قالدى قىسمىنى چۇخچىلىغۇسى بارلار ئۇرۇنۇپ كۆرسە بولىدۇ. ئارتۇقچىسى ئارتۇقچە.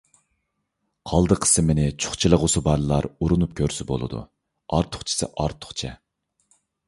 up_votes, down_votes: 2, 0